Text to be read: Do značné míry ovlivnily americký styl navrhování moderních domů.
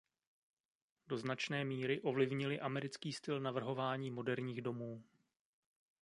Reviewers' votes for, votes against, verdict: 1, 2, rejected